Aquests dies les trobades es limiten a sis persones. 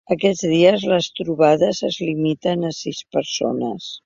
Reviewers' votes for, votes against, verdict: 3, 0, accepted